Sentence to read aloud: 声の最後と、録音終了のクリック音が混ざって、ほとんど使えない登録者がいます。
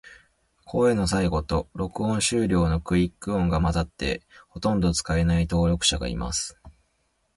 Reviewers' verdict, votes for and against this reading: accepted, 2, 0